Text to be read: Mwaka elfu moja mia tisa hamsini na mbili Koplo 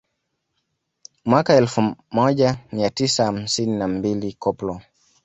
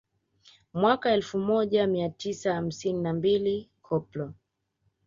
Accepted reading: second